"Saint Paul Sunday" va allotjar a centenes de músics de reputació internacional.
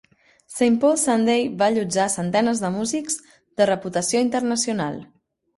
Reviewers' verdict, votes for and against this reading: accepted, 3, 0